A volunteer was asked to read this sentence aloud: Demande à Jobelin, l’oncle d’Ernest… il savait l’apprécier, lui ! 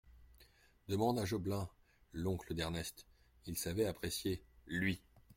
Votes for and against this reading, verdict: 2, 1, accepted